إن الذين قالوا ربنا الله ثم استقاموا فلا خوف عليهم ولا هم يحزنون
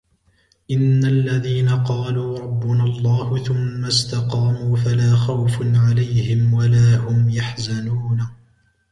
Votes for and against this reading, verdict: 2, 0, accepted